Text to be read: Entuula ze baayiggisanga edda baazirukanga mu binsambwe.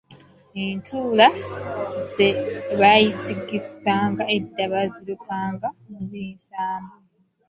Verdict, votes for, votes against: rejected, 0, 2